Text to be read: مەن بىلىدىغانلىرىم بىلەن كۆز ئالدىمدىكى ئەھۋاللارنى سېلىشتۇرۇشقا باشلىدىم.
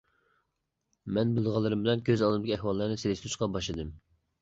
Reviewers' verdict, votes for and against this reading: rejected, 0, 2